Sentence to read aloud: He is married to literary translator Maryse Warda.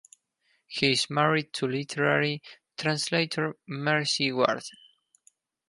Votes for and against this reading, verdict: 2, 4, rejected